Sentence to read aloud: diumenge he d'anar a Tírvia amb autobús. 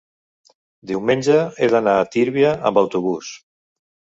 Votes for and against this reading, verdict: 2, 0, accepted